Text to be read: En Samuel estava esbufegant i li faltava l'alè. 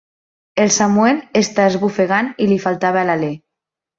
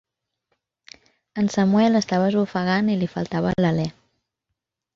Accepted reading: second